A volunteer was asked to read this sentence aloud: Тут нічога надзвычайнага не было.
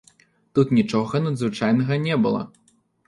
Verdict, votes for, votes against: rejected, 0, 2